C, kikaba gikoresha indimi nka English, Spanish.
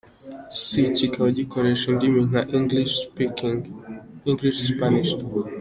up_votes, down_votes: 2, 0